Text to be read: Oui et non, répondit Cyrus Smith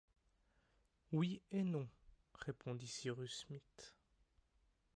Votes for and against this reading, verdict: 0, 2, rejected